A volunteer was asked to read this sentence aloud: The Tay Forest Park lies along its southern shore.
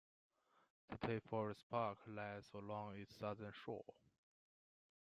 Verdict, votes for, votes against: accepted, 2, 1